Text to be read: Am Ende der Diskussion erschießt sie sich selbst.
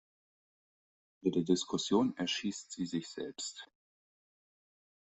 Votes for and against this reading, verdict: 1, 2, rejected